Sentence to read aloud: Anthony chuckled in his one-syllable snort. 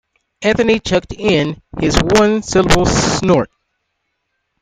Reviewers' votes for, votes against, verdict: 0, 2, rejected